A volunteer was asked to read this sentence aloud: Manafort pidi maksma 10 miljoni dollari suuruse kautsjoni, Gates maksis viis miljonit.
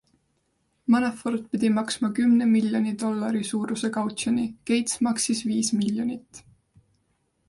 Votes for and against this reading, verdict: 0, 2, rejected